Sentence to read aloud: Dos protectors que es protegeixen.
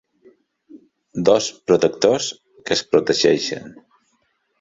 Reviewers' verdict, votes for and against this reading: accepted, 3, 0